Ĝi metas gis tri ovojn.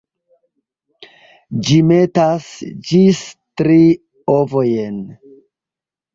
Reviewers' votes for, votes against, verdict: 1, 2, rejected